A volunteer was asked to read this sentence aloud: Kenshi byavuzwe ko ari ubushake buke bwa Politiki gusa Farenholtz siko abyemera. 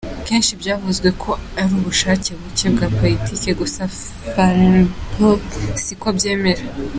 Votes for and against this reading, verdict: 2, 1, accepted